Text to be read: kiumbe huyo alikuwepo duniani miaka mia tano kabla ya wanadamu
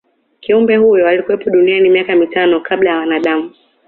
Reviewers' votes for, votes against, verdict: 2, 1, accepted